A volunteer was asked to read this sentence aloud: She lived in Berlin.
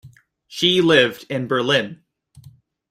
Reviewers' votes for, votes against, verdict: 2, 0, accepted